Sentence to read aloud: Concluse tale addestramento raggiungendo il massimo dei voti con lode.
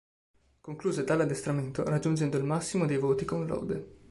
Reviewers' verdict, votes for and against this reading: accepted, 3, 1